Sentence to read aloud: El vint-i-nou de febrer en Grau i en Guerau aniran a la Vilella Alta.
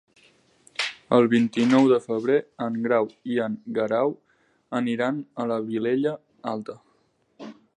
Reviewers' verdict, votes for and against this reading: accepted, 4, 0